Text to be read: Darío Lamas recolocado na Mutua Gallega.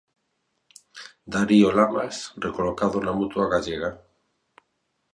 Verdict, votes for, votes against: accepted, 2, 0